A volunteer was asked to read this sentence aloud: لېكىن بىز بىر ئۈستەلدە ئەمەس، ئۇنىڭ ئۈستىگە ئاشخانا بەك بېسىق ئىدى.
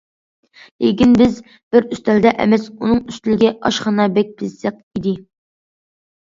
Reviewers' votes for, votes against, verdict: 0, 2, rejected